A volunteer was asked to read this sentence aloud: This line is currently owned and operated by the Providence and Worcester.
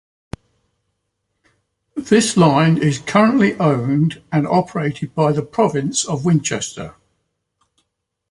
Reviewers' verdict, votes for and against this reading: rejected, 1, 2